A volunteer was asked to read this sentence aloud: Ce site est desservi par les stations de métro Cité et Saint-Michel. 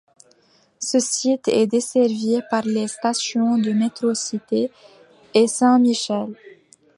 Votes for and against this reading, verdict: 2, 0, accepted